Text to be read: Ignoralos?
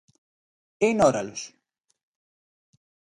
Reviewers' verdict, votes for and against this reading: rejected, 0, 2